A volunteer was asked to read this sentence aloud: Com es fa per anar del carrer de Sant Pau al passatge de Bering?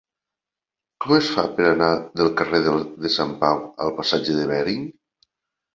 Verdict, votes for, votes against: rejected, 0, 2